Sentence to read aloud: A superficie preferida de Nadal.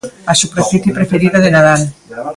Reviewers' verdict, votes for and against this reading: rejected, 0, 2